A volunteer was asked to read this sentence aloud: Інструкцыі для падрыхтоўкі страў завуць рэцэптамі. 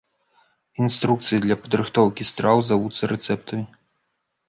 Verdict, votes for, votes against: rejected, 1, 2